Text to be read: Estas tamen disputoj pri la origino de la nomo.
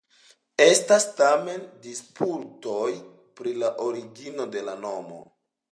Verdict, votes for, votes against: accepted, 2, 0